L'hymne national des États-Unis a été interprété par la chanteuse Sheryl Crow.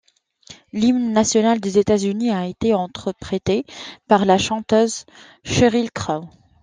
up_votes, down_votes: 0, 2